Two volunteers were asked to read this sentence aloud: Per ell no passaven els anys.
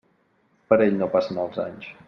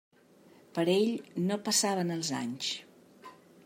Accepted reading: second